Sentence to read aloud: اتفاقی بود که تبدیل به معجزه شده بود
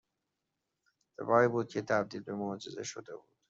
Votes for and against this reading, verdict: 1, 2, rejected